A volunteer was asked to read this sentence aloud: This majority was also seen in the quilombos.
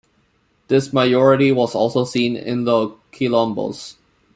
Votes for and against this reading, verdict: 2, 0, accepted